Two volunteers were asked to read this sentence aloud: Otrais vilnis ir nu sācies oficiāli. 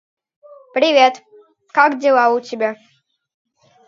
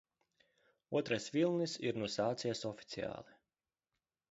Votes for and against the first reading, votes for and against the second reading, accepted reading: 0, 5, 2, 0, second